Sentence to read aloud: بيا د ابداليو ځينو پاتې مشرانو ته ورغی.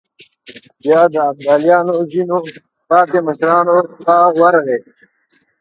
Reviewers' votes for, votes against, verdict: 0, 2, rejected